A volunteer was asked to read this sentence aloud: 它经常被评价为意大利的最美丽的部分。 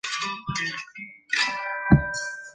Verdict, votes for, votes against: rejected, 0, 3